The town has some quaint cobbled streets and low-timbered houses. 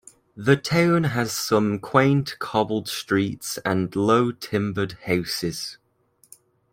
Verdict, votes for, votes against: accepted, 2, 0